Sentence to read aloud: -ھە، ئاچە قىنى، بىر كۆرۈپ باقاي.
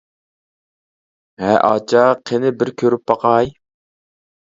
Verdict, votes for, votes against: rejected, 1, 2